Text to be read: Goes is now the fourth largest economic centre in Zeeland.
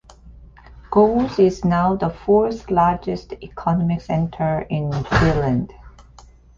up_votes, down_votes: 1, 2